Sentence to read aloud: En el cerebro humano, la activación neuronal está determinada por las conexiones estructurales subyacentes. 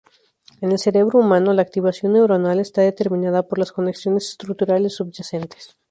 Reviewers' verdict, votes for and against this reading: rejected, 2, 2